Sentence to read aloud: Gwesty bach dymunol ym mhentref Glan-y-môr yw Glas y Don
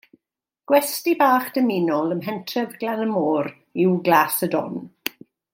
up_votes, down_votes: 2, 0